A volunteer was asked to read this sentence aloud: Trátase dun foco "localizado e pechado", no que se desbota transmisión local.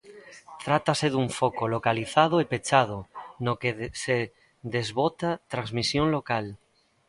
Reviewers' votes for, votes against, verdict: 1, 2, rejected